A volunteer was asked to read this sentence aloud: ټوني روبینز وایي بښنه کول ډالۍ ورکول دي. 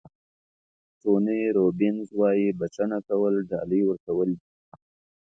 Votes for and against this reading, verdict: 2, 0, accepted